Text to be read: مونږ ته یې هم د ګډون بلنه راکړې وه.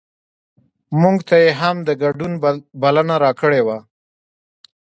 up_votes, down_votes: 1, 2